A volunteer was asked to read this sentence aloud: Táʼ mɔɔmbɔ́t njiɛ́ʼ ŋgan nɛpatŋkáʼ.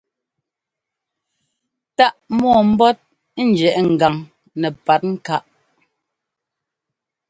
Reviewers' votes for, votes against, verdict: 2, 0, accepted